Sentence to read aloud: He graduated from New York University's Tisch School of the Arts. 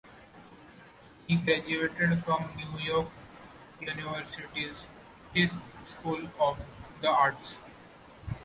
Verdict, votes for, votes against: rejected, 0, 2